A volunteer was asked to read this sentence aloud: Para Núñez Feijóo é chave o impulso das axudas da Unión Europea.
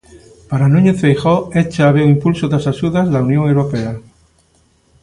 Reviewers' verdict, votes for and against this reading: accepted, 2, 1